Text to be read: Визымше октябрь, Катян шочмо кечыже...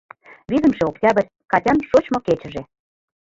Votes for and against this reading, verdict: 1, 2, rejected